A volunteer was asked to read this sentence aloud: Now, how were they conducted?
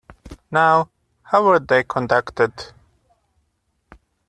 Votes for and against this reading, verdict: 0, 2, rejected